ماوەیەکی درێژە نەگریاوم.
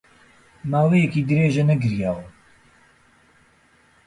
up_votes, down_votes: 2, 0